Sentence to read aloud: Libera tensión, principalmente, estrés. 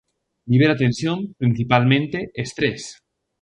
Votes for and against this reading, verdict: 2, 0, accepted